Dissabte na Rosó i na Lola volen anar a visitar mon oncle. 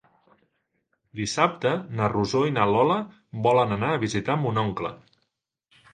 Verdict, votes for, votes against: accepted, 3, 0